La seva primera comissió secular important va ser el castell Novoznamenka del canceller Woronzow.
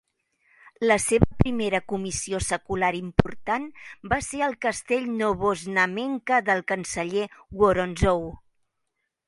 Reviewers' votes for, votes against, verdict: 2, 0, accepted